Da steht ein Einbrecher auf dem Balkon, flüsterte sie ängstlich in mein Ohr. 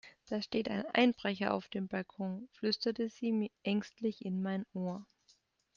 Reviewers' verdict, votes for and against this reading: rejected, 0, 2